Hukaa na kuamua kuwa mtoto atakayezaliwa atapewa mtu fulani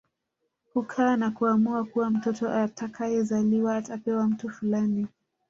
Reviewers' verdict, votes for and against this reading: rejected, 0, 2